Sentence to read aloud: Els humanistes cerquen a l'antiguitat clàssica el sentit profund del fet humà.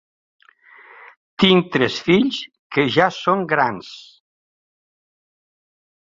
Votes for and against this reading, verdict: 0, 2, rejected